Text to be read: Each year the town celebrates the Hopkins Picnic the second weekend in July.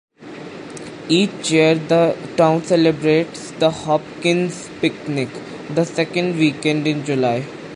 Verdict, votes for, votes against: rejected, 1, 2